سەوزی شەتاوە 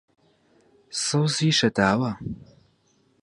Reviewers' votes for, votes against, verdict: 4, 0, accepted